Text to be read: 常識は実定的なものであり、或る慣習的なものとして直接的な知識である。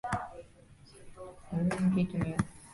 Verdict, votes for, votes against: rejected, 1, 2